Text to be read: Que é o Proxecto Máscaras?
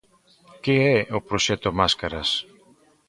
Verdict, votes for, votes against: accepted, 2, 0